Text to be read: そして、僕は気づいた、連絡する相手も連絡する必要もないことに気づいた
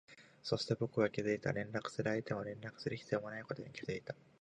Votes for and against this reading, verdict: 2, 1, accepted